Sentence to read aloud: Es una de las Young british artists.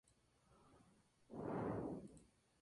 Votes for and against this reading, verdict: 0, 4, rejected